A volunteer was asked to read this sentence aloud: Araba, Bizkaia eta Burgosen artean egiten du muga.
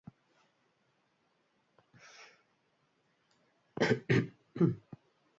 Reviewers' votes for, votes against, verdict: 0, 2, rejected